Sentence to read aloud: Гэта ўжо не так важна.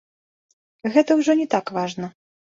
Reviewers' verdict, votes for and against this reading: accepted, 2, 0